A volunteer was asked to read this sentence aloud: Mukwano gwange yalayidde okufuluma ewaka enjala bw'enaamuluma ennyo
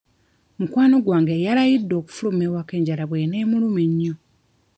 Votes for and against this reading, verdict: 1, 2, rejected